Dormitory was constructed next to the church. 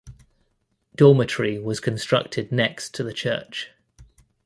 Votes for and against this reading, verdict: 2, 0, accepted